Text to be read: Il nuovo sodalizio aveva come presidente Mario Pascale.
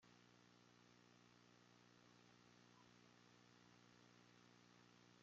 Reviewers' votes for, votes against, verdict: 0, 2, rejected